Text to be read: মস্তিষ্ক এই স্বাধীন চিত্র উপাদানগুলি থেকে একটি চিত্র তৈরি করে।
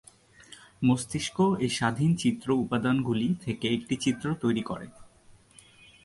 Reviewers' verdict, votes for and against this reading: accepted, 2, 0